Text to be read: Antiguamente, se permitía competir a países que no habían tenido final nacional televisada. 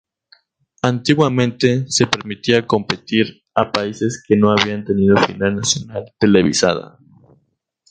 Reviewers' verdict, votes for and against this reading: rejected, 0, 2